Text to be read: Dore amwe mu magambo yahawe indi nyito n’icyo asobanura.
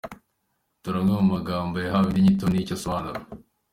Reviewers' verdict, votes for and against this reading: accepted, 2, 0